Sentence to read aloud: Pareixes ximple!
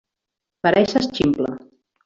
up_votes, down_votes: 3, 1